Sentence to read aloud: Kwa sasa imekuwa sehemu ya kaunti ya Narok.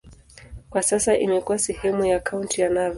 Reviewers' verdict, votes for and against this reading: accepted, 2, 0